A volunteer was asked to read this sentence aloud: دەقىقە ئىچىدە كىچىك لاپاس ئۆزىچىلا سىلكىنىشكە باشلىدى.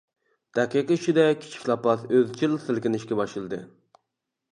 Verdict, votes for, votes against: rejected, 0, 2